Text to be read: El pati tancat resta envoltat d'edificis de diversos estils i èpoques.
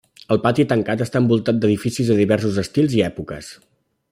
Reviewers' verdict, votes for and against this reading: rejected, 1, 2